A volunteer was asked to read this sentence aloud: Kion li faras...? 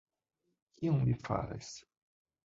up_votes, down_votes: 2, 1